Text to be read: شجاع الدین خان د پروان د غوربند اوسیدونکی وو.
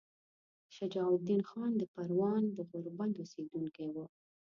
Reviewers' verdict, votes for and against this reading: accepted, 2, 0